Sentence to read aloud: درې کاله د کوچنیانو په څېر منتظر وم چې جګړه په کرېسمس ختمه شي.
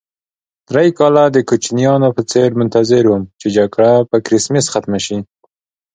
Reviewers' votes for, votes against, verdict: 2, 1, accepted